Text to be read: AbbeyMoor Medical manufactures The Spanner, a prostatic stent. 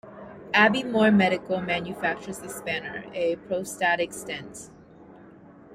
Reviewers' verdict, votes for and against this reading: rejected, 0, 2